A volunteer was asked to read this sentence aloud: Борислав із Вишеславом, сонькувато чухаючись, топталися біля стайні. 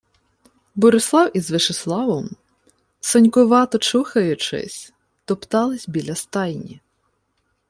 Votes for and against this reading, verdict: 2, 0, accepted